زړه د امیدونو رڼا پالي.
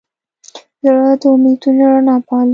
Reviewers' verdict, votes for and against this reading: rejected, 1, 2